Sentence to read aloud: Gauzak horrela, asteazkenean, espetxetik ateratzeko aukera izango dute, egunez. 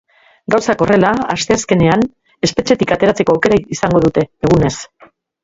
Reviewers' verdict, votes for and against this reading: rejected, 0, 2